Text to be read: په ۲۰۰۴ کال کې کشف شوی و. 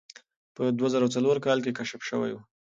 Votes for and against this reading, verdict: 0, 2, rejected